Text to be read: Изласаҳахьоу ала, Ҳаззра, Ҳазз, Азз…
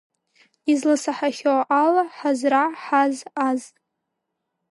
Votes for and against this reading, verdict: 2, 0, accepted